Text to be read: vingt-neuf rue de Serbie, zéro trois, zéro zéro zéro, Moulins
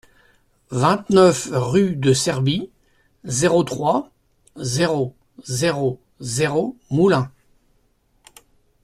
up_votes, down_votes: 2, 0